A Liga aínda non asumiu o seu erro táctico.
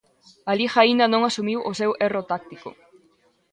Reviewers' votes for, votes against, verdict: 2, 0, accepted